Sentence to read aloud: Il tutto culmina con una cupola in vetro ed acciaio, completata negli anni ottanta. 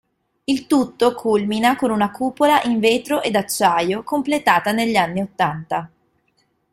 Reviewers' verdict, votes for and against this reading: accepted, 2, 0